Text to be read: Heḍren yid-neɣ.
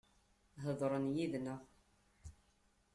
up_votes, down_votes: 2, 0